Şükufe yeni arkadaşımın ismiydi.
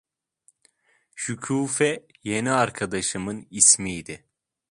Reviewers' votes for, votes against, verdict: 2, 0, accepted